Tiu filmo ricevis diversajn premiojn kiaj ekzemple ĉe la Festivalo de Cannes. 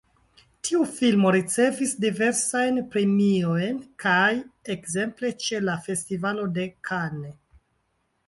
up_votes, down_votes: 0, 2